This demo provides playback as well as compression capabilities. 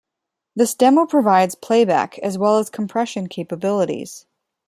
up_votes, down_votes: 2, 0